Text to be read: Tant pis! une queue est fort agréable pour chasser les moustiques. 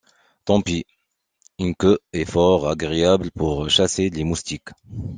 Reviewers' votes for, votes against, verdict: 2, 0, accepted